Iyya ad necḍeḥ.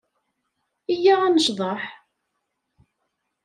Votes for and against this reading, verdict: 2, 0, accepted